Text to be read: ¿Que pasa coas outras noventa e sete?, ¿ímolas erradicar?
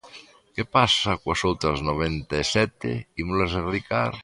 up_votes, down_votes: 2, 0